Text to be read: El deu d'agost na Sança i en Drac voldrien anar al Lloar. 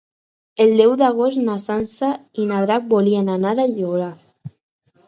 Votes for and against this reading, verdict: 0, 4, rejected